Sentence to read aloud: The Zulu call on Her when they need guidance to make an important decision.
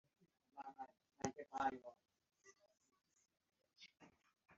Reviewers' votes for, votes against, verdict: 1, 2, rejected